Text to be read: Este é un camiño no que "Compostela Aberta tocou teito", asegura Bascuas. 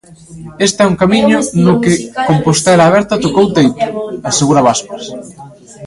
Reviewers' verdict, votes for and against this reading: accepted, 2, 1